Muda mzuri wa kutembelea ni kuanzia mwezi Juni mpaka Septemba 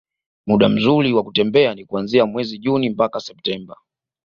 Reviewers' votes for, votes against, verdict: 2, 0, accepted